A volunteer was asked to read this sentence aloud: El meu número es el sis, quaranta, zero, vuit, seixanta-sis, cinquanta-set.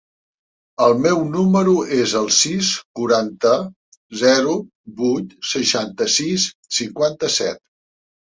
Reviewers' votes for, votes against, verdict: 3, 1, accepted